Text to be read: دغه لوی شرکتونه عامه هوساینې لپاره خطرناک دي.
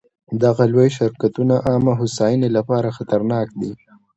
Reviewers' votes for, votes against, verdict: 2, 0, accepted